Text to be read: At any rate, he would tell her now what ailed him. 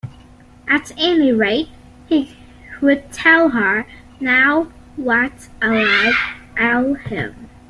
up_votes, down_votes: 1, 2